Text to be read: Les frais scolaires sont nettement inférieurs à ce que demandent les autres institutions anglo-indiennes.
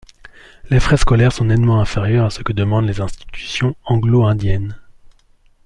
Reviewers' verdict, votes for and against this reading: rejected, 1, 2